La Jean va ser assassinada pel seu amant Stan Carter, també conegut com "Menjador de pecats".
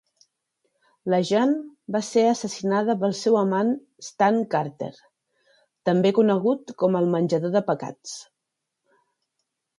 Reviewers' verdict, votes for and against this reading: rejected, 1, 2